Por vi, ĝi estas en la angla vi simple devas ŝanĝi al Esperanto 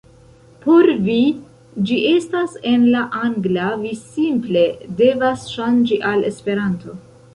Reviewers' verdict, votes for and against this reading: rejected, 1, 2